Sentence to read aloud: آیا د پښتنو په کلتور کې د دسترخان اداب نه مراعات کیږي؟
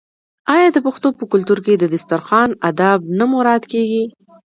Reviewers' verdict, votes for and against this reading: accepted, 2, 0